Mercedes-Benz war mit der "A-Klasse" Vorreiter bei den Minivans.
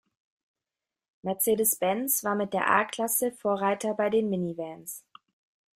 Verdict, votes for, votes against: accepted, 2, 0